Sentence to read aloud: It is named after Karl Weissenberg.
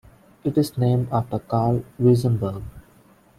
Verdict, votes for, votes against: rejected, 1, 2